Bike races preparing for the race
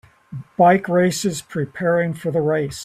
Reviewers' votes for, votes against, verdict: 2, 0, accepted